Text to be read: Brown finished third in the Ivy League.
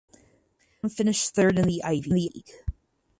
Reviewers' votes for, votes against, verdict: 2, 10, rejected